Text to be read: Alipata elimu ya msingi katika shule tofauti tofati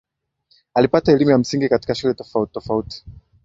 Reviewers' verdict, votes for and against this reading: rejected, 0, 2